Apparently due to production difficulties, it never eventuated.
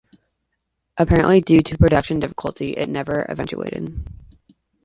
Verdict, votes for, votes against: accepted, 2, 0